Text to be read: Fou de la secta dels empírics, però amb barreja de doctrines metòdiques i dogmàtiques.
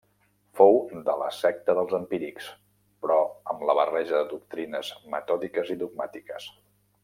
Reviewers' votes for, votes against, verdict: 2, 0, accepted